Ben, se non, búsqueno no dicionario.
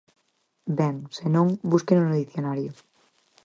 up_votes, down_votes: 4, 0